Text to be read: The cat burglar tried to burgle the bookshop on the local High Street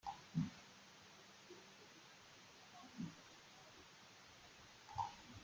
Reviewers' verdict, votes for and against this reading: rejected, 0, 2